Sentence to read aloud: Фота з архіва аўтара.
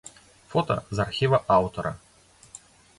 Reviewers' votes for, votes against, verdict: 2, 0, accepted